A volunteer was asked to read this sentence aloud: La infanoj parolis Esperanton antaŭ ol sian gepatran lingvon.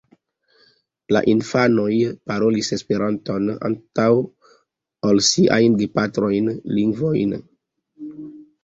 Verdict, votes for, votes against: accepted, 2, 0